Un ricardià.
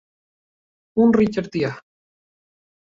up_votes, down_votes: 0, 2